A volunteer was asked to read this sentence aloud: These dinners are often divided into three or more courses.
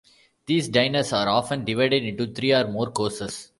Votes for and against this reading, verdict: 0, 2, rejected